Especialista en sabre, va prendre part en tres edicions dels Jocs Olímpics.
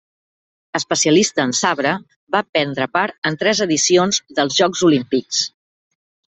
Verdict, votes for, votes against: accepted, 3, 0